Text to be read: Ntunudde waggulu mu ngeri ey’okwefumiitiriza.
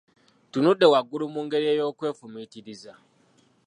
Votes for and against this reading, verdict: 2, 1, accepted